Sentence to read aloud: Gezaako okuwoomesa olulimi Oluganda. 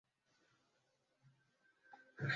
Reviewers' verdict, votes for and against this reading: rejected, 0, 3